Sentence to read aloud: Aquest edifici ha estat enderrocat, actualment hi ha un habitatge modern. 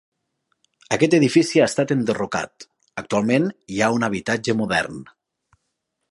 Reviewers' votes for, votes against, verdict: 3, 0, accepted